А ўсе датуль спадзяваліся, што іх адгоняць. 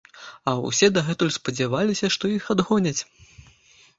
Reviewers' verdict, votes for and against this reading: rejected, 1, 2